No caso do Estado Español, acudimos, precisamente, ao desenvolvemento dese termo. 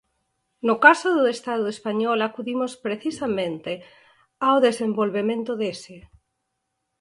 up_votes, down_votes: 0, 4